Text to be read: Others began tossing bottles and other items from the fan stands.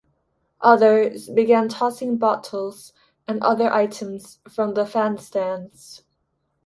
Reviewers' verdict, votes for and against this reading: accepted, 2, 0